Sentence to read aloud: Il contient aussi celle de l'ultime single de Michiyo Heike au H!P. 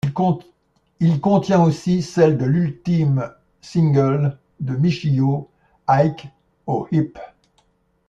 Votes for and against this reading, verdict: 0, 2, rejected